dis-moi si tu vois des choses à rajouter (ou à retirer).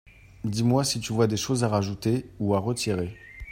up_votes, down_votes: 2, 0